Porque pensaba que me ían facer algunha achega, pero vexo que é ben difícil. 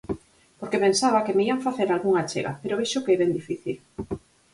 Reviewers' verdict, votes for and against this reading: accepted, 4, 0